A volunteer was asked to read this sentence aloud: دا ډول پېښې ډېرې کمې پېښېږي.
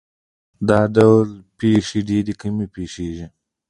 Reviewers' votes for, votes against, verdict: 2, 1, accepted